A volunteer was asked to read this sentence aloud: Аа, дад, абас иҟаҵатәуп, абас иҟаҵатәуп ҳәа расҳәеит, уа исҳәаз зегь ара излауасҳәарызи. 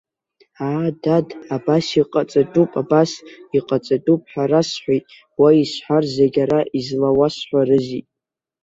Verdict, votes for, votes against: accepted, 2, 1